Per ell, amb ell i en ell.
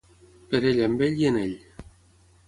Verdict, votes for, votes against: accepted, 6, 0